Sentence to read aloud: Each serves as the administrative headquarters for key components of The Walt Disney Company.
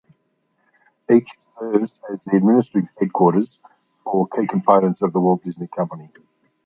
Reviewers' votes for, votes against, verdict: 1, 2, rejected